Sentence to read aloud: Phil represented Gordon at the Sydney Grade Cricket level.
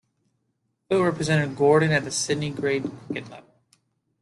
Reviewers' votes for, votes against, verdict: 0, 2, rejected